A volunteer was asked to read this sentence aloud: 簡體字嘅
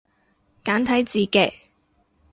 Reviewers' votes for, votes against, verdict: 2, 0, accepted